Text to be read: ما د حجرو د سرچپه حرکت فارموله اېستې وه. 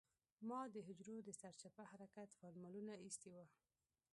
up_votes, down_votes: 2, 0